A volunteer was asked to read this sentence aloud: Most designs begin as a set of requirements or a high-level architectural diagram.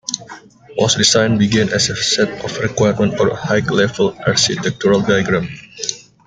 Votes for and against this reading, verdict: 0, 2, rejected